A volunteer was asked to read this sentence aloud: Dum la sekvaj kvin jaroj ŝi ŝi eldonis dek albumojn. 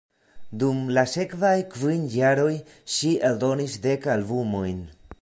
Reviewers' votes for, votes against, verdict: 0, 2, rejected